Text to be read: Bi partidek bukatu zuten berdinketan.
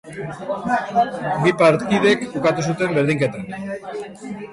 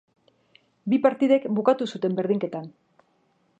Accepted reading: second